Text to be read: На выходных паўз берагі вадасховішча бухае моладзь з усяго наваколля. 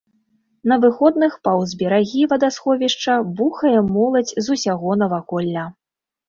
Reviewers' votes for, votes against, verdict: 1, 2, rejected